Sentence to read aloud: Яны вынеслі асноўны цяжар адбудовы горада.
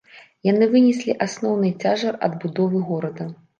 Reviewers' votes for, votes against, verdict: 2, 0, accepted